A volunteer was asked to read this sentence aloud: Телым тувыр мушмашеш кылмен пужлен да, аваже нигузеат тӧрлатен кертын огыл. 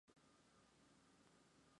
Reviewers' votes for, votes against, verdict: 0, 2, rejected